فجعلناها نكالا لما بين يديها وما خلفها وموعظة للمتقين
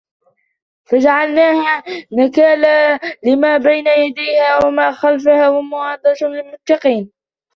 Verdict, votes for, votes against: rejected, 1, 2